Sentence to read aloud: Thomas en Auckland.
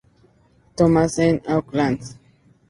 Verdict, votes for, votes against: rejected, 0, 2